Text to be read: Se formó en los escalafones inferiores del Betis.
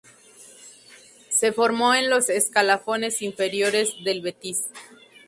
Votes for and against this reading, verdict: 0, 2, rejected